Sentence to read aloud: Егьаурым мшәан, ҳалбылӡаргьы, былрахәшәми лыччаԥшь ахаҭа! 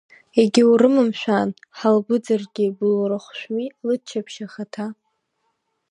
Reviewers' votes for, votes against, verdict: 0, 2, rejected